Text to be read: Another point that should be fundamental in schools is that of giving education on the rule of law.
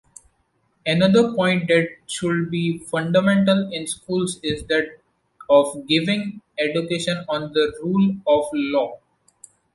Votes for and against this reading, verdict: 2, 0, accepted